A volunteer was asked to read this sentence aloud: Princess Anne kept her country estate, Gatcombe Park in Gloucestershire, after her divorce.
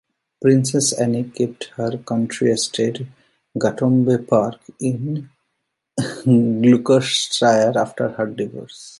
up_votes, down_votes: 0, 2